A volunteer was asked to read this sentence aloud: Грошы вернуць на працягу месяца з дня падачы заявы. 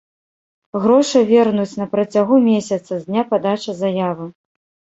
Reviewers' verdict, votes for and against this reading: rejected, 1, 2